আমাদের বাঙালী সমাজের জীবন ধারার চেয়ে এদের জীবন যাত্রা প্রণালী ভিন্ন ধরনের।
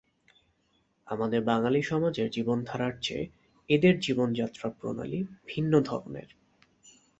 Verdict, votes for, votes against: accepted, 3, 0